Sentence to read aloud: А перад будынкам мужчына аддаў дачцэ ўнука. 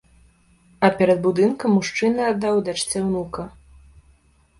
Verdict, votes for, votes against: accepted, 2, 0